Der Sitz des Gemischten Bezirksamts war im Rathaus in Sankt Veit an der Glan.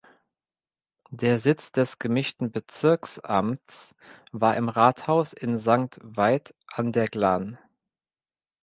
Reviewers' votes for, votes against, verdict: 1, 2, rejected